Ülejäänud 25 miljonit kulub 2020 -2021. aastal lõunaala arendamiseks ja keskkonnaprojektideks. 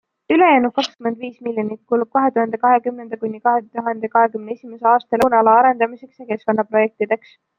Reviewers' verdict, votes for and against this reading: rejected, 0, 2